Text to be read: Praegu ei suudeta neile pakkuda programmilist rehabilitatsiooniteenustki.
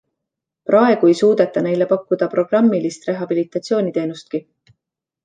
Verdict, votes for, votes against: accepted, 2, 0